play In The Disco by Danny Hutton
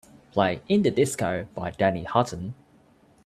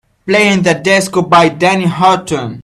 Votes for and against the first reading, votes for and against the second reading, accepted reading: 2, 0, 1, 2, first